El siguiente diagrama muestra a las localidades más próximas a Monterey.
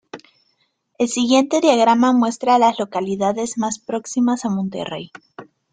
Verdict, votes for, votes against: accepted, 2, 0